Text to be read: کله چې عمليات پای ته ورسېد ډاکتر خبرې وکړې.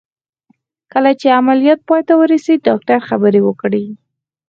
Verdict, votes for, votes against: accepted, 4, 2